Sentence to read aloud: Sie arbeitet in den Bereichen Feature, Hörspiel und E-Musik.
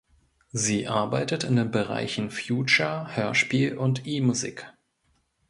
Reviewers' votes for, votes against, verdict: 0, 2, rejected